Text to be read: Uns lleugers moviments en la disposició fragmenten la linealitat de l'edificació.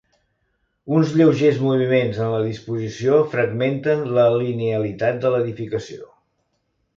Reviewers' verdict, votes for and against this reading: accepted, 2, 0